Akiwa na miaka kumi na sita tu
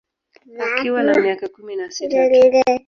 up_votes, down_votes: 1, 3